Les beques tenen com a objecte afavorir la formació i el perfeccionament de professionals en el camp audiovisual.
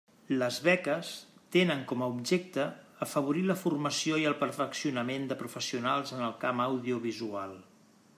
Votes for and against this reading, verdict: 3, 0, accepted